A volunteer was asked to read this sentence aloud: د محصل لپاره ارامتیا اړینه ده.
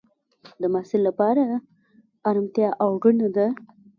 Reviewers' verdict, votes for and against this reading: rejected, 1, 2